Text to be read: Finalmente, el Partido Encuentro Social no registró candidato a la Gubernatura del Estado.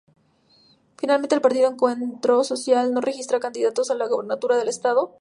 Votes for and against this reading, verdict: 0, 2, rejected